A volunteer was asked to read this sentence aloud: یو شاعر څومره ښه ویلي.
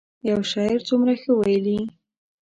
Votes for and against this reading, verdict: 2, 0, accepted